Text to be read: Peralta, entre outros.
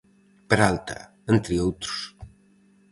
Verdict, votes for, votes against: accepted, 4, 0